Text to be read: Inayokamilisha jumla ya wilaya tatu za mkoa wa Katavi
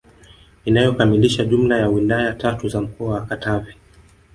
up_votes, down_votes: 6, 0